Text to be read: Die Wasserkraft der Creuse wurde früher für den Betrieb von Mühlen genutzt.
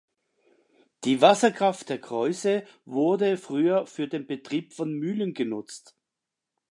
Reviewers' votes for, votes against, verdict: 2, 0, accepted